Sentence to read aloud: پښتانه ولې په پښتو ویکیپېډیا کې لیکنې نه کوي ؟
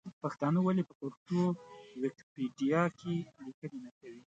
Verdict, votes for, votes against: accepted, 2, 0